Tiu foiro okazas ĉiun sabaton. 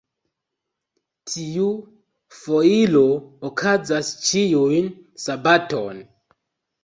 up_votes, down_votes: 2, 1